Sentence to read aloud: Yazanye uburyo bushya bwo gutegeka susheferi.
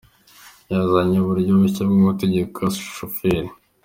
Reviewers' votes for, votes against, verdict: 3, 1, accepted